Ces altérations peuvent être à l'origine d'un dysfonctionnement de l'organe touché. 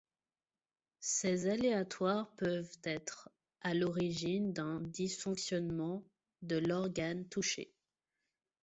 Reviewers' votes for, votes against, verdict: 0, 2, rejected